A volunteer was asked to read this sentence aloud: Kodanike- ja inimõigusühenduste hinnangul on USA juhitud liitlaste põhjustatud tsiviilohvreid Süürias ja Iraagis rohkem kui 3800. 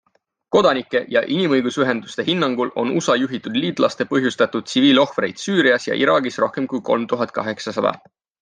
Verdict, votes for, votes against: rejected, 0, 2